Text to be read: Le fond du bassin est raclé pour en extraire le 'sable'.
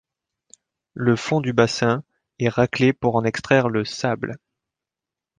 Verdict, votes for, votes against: accepted, 2, 0